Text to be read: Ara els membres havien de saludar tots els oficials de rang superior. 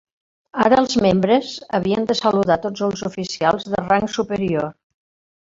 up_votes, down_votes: 1, 2